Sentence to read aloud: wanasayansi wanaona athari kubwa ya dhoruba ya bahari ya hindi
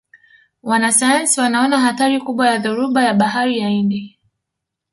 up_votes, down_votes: 1, 2